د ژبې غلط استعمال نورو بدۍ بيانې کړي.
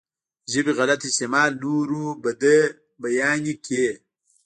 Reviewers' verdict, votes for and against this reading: rejected, 1, 2